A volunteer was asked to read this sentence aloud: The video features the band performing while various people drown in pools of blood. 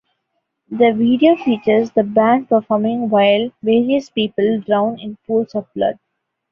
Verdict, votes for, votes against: accepted, 2, 0